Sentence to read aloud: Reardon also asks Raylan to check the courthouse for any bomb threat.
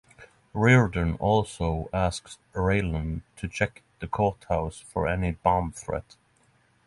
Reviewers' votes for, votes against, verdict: 6, 0, accepted